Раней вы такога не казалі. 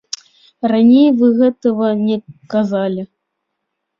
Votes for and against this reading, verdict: 1, 3, rejected